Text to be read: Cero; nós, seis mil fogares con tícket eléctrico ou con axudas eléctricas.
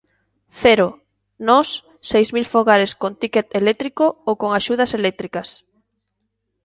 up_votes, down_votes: 2, 0